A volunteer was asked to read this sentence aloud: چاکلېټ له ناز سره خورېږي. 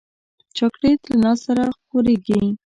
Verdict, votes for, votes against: rejected, 1, 2